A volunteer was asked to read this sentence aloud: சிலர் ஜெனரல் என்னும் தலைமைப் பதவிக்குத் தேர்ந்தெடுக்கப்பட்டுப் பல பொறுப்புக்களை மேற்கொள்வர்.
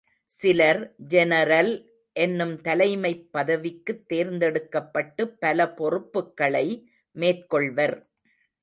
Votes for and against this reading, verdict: 3, 0, accepted